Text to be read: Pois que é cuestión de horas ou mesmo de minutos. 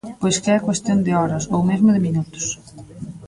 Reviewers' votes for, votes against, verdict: 1, 2, rejected